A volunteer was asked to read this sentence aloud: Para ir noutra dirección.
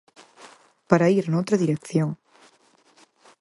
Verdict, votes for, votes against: accepted, 4, 0